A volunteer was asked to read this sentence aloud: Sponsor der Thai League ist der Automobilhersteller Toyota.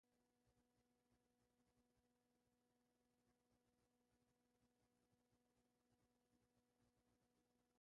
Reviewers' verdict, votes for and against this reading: rejected, 0, 2